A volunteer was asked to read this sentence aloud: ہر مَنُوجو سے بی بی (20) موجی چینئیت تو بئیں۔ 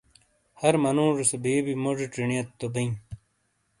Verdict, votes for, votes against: rejected, 0, 2